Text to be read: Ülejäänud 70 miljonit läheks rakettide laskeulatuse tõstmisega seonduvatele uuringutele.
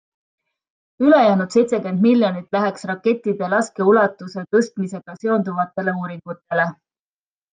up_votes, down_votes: 0, 2